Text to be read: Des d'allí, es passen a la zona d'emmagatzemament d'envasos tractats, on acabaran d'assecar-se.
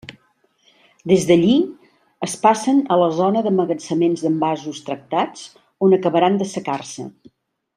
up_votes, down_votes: 1, 2